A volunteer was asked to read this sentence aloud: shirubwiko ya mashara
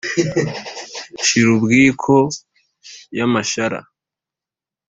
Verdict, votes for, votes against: accepted, 3, 0